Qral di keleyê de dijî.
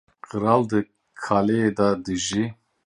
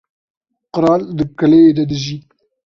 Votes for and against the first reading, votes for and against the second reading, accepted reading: 0, 2, 2, 0, second